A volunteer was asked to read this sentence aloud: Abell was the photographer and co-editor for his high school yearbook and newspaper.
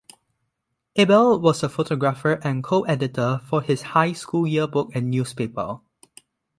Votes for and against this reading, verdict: 2, 0, accepted